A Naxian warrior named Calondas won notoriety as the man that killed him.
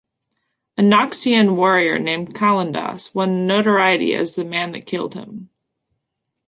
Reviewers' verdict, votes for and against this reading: accepted, 2, 0